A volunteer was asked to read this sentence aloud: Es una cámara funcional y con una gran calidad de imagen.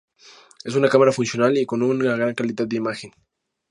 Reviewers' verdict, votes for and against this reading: accepted, 2, 0